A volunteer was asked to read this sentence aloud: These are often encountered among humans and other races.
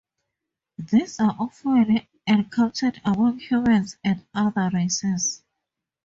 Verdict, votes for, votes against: accepted, 2, 0